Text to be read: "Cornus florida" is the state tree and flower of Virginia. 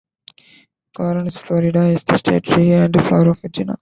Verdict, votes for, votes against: rejected, 1, 2